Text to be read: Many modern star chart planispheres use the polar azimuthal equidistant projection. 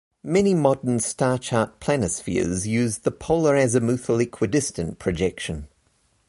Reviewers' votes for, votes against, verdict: 2, 0, accepted